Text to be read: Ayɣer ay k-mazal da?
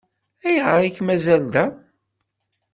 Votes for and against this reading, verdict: 2, 0, accepted